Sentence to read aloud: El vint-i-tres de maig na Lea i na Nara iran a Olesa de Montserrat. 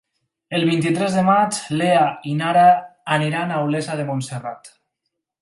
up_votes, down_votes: 2, 4